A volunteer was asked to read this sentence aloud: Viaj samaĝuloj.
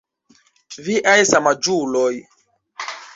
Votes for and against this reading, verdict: 0, 2, rejected